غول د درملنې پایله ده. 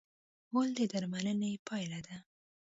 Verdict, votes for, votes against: accepted, 2, 0